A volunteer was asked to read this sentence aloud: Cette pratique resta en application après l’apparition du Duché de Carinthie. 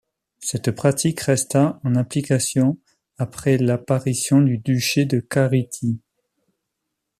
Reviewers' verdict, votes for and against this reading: rejected, 0, 2